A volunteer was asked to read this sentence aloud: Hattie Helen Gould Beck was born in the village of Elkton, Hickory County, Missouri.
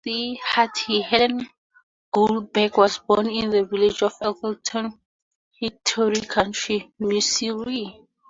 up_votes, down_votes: 0, 4